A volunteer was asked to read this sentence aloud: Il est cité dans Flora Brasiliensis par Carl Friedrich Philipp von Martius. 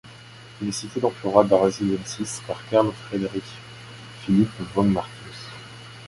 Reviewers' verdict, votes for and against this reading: accepted, 2, 0